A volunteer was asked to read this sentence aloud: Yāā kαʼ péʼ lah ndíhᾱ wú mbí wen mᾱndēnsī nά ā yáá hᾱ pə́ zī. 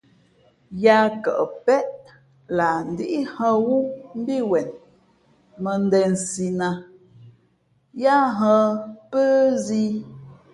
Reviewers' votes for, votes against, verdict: 2, 0, accepted